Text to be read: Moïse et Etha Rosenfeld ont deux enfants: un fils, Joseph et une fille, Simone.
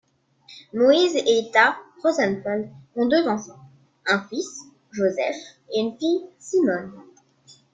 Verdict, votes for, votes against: accepted, 3, 1